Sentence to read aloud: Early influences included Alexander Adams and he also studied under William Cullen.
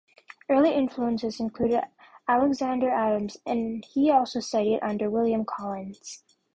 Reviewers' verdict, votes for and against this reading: rejected, 1, 2